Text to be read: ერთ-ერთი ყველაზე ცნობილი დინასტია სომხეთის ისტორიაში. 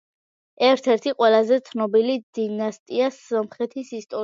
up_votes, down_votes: 2, 0